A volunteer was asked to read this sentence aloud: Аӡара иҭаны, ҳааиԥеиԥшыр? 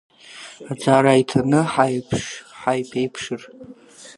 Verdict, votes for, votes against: rejected, 0, 2